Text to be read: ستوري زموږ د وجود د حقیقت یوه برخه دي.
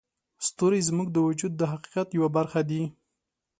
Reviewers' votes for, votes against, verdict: 3, 0, accepted